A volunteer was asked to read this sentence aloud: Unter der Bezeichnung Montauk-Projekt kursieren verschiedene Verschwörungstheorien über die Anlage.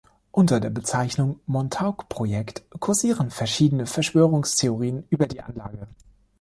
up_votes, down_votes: 2, 0